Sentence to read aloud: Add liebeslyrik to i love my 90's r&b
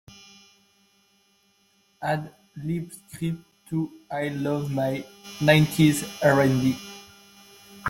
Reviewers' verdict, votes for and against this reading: rejected, 0, 2